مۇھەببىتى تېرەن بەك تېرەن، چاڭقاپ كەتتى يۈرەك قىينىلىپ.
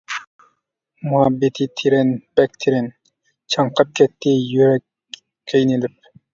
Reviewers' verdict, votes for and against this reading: rejected, 1, 2